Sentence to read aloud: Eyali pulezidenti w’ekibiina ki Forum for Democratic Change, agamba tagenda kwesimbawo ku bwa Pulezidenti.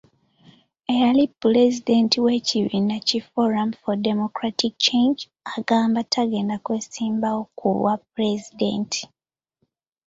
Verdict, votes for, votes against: accepted, 2, 0